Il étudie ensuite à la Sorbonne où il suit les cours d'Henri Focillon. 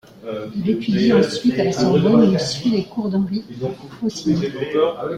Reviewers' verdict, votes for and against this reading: rejected, 0, 2